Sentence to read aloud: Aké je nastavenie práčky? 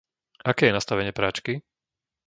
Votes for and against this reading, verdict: 2, 0, accepted